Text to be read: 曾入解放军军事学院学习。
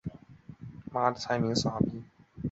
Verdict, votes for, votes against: rejected, 1, 6